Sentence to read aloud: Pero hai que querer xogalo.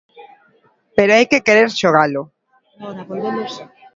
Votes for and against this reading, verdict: 2, 1, accepted